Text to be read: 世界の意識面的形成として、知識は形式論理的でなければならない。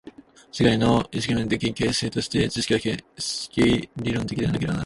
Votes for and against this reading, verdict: 0, 2, rejected